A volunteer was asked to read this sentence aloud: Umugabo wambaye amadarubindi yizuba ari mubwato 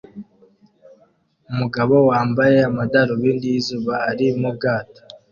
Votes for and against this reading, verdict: 2, 0, accepted